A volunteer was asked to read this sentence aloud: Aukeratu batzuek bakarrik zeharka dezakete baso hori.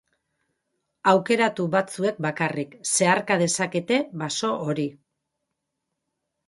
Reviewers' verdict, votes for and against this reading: rejected, 4, 10